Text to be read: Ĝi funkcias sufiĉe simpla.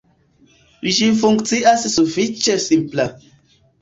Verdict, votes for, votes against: accepted, 2, 0